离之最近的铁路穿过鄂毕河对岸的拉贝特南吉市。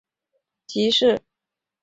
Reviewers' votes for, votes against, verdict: 0, 2, rejected